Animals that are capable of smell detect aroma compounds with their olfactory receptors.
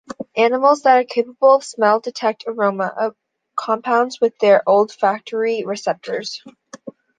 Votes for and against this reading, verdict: 1, 3, rejected